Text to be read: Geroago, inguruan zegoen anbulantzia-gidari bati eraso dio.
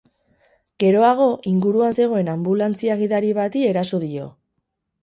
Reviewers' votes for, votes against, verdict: 4, 0, accepted